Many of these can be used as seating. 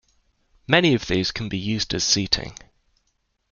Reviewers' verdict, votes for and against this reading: accepted, 2, 0